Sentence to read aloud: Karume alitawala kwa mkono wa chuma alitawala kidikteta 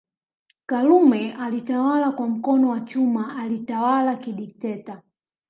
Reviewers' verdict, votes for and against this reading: rejected, 1, 2